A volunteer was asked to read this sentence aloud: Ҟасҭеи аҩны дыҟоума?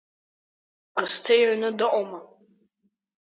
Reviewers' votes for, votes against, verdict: 4, 2, accepted